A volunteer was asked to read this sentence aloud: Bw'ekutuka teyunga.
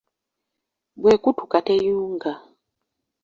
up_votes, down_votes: 2, 0